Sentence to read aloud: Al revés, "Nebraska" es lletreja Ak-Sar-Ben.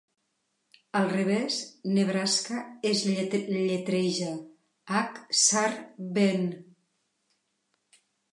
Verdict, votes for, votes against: rejected, 1, 2